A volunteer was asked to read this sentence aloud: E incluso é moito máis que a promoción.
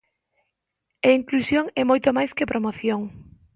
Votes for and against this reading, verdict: 0, 2, rejected